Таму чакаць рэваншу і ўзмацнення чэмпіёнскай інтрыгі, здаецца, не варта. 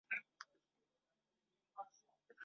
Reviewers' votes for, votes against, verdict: 0, 2, rejected